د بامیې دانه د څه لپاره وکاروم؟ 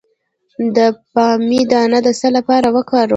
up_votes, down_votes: 2, 0